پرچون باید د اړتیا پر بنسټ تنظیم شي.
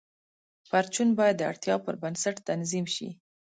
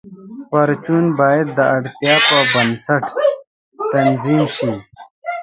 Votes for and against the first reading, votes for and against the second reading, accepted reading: 2, 0, 1, 2, first